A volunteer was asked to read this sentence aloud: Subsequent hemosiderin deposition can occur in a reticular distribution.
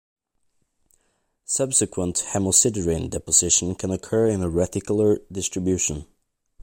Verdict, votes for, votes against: accepted, 2, 0